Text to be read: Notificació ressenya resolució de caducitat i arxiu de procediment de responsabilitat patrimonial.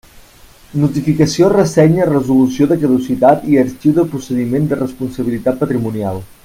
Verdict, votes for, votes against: accepted, 2, 1